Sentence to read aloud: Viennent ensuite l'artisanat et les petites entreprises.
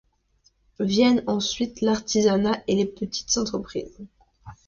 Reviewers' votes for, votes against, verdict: 2, 1, accepted